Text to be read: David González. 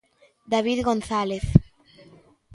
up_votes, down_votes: 2, 0